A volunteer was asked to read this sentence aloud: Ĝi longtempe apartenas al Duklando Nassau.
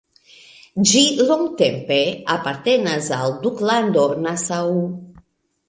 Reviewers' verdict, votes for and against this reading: rejected, 1, 2